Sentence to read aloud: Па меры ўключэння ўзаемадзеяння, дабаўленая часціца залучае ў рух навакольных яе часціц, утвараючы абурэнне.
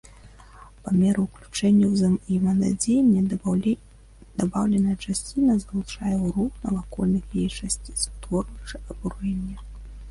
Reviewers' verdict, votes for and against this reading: rejected, 1, 3